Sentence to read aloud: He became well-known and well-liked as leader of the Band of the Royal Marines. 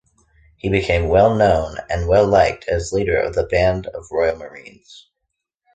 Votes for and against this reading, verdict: 2, 0, accepted